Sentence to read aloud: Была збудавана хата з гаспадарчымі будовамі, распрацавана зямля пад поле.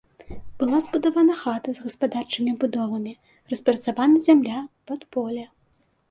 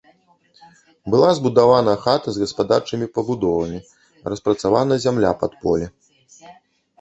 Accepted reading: first